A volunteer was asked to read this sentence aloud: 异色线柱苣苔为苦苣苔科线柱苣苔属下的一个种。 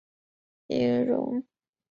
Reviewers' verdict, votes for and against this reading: rejected, 0, 5